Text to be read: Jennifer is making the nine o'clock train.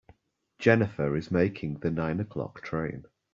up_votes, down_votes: 2, 0